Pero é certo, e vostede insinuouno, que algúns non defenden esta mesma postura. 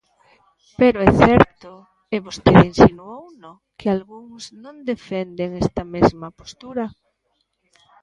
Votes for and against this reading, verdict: 1, 2, rejected